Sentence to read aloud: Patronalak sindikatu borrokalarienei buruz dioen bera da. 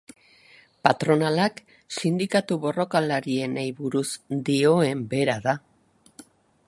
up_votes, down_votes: 2, 0